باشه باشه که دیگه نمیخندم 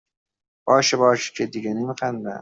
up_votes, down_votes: 0, 2